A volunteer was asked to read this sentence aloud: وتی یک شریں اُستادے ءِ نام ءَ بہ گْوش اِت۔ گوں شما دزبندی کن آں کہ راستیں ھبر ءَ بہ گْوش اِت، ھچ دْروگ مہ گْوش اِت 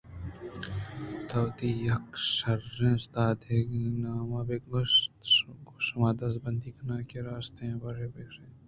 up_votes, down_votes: 2, 0